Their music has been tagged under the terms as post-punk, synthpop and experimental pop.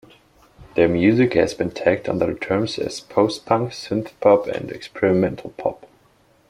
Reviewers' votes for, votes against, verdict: 2, 1, accepted